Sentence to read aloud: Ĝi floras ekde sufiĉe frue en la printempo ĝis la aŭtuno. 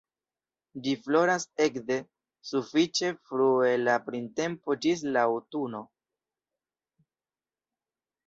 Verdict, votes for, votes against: accepted, 2, 0